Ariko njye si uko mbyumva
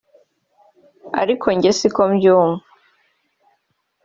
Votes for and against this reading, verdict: 3, 0, accepted